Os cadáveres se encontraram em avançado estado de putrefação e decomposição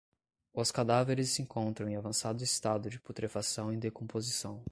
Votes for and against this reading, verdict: 0, 5, rejected